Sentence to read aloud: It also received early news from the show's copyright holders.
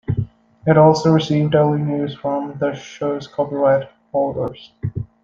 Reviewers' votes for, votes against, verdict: 2, 0, accepted